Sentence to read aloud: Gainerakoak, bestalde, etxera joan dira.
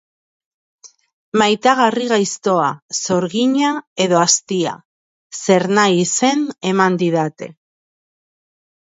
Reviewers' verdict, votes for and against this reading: rejected, 0, 2